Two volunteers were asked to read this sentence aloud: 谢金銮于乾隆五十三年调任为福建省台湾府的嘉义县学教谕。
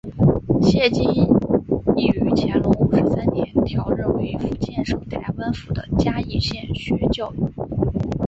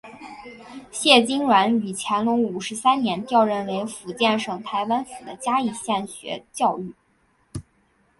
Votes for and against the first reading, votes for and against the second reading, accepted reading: 2, 3, 4, 1, second